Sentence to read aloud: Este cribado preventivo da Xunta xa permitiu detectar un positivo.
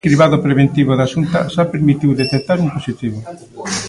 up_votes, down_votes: 2, 1